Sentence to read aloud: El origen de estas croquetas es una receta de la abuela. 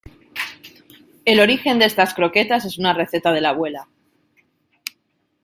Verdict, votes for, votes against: accepted, 2, 0